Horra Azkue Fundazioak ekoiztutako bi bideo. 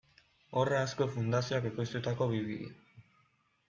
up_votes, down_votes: 2, 1